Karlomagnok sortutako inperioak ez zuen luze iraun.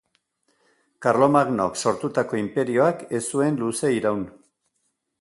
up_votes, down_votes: 2, 0